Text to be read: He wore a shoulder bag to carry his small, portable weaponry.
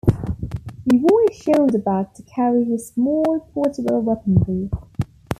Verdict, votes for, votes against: accepted, 2, 1